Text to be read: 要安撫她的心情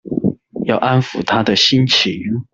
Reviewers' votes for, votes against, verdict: 2, 1, accepted